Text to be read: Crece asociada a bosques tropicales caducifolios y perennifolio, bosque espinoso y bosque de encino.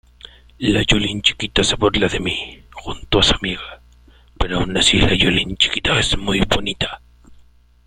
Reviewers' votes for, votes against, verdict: 0, 2, rejected